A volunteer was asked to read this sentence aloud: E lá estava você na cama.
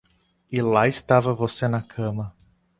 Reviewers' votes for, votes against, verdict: 2, 0, accepted